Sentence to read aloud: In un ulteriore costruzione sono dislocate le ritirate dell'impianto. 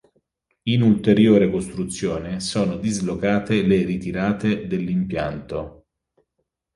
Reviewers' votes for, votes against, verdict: 0, 2, rejected